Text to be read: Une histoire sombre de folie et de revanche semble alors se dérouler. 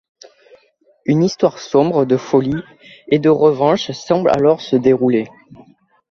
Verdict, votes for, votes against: accepted, 2, 0